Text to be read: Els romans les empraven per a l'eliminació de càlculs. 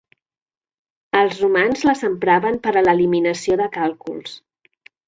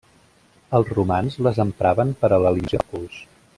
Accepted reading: first